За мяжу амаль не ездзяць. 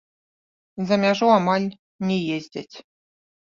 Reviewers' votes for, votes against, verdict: 0, 2, rejected